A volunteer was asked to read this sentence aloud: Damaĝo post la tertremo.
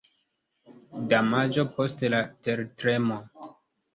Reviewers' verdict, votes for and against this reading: accepted, 2, 0